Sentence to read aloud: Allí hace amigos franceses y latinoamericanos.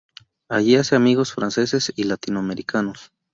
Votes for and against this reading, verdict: 2, 0, accepted